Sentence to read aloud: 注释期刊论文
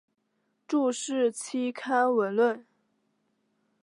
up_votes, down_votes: 2, 3